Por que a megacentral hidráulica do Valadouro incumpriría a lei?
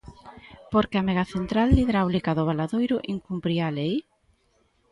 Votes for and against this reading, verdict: 0, 2, rejected